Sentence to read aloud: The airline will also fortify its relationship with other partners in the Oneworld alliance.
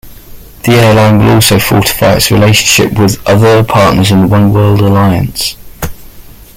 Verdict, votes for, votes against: rejected, 1, 2